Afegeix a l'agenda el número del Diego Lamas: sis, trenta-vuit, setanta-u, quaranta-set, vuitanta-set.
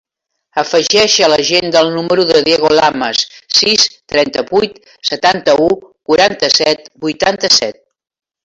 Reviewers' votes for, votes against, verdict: 2, 1, accepted